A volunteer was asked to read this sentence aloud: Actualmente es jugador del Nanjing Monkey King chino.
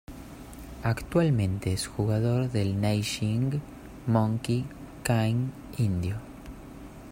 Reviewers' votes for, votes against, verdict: 0, 2, rejected